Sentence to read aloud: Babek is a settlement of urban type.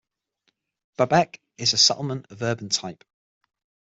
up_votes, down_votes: 6, 0